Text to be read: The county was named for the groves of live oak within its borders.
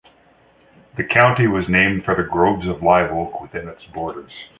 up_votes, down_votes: 2, 1